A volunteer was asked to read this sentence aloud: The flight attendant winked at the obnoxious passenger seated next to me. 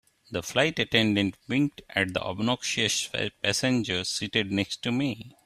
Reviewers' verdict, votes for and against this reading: accepted, 3, 1